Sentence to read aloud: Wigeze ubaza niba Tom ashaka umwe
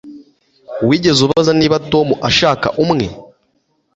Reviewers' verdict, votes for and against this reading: accepted, 2, 0